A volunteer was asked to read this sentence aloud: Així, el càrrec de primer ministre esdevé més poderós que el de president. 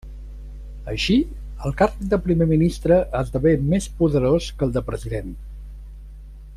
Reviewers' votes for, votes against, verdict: 0, 2, rejected